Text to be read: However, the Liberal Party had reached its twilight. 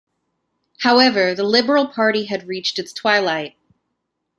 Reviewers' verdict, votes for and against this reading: accepted, 2, 0